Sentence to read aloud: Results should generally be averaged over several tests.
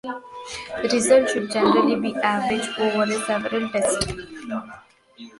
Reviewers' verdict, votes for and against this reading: rejected, 0, 2